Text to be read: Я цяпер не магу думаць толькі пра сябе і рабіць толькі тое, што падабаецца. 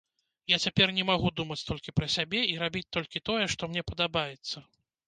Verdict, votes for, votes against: rejected, 0, 3